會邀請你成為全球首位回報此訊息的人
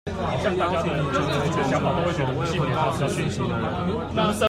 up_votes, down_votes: 1, 2